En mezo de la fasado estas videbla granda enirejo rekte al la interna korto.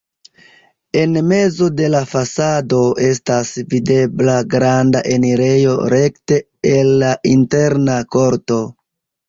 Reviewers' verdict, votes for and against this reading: rejected, 0, 2